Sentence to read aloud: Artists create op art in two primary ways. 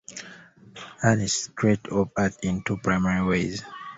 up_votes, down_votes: 2, 1